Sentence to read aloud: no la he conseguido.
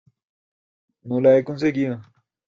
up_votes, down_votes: 2, 1